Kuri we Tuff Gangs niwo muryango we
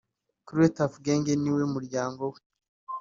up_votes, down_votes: 3, 0